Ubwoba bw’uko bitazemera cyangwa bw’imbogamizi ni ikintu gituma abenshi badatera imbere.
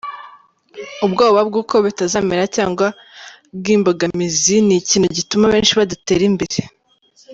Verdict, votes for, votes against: accepted, 2, 0